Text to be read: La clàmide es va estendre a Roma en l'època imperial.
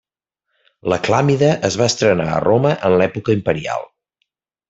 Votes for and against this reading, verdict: 0, 2, rejected